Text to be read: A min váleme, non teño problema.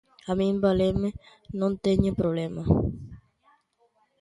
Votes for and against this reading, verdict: 0, 2, rejected